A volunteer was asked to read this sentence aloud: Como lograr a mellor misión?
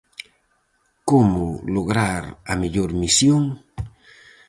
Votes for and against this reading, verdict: 4, 0, accepted